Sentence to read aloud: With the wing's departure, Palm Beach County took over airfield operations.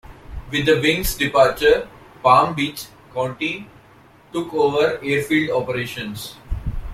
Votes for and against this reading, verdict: 2, 1, accepted